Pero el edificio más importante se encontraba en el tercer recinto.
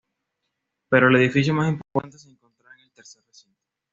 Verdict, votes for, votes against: rejected, 1, 2